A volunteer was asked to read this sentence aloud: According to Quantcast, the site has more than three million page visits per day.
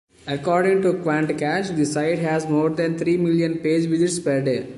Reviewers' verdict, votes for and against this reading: rejected, 0, 2